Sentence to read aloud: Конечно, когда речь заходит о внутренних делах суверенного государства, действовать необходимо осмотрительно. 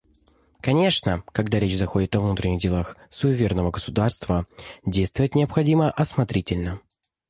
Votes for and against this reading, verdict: 0, 2, rejected